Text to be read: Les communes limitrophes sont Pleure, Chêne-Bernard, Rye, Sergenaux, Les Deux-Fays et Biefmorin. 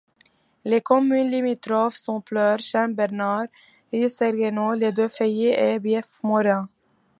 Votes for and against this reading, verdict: 1, 2, rejected